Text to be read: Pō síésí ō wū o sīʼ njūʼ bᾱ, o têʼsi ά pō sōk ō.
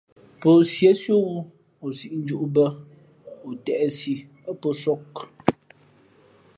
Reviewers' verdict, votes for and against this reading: accepted, 2, 0